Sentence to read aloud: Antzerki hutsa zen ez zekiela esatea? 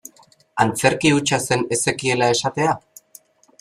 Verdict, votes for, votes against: accepted, 4, 0